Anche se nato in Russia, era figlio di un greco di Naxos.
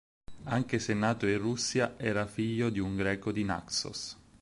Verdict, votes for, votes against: accepted, 6, 0